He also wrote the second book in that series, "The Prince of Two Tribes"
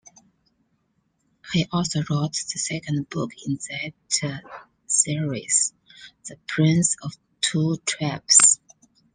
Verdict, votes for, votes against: accepted, 2, 0